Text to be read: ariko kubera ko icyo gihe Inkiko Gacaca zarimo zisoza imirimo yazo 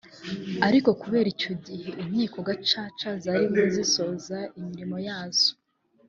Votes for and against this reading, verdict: 0, 3, rejected